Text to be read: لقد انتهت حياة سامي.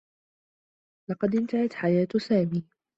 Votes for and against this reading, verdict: 2, 0, accepted